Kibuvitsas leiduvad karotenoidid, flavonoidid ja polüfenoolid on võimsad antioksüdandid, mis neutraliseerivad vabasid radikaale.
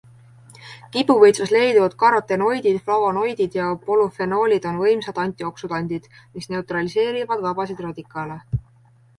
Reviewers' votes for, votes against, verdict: 2, 0, accepted